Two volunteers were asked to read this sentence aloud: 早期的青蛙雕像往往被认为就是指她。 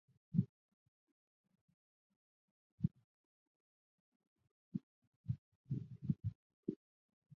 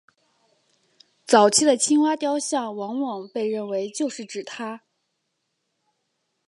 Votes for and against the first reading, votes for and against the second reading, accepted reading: 0, 2, 5, 0, second